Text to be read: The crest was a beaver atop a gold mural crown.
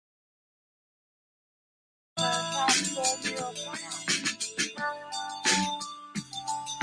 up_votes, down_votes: 0, 3